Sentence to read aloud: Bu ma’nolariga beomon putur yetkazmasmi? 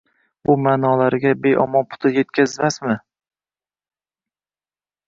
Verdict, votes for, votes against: accepted, 2, 0